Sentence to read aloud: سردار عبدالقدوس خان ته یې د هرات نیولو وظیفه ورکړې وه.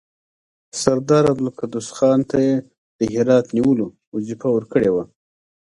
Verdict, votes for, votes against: rejected, 0, 2